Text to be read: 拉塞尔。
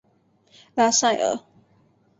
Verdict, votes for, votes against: accepted, 7, 2